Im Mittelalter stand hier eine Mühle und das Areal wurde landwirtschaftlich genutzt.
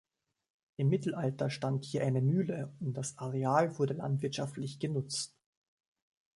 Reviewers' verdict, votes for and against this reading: accepted, 2, 0